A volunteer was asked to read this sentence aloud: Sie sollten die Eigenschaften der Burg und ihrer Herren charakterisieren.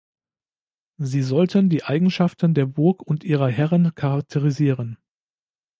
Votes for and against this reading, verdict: 2, 0, accepted